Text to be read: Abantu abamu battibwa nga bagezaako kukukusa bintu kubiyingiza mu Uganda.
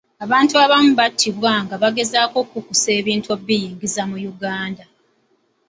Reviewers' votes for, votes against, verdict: 1, 2, rejected